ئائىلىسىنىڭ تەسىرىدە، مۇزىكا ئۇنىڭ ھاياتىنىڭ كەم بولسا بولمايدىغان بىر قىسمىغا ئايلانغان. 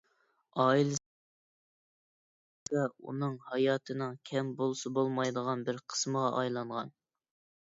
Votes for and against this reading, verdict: 0, 2, rejected